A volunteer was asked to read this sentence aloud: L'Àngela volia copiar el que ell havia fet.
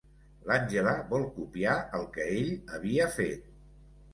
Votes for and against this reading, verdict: 0, 2, rejected